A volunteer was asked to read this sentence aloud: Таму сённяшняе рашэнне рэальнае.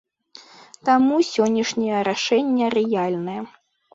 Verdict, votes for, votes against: rejected, 0, 2